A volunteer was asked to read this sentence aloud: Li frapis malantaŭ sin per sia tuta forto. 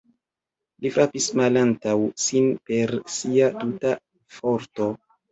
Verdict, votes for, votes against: accepted, 2, 0